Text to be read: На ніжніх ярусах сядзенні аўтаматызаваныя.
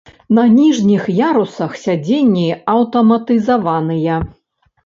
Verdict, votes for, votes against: accepted, 2, 0